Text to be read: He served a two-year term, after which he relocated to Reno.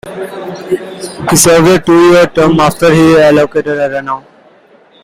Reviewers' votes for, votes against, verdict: 0, 2, rejected